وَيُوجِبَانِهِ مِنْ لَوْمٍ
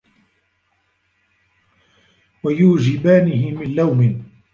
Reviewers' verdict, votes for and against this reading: rejected, 1, 2